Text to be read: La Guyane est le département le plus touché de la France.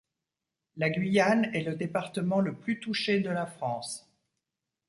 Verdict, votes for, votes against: accepted, 2, 0